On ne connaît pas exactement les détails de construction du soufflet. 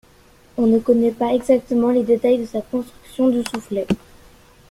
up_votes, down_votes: 0, 2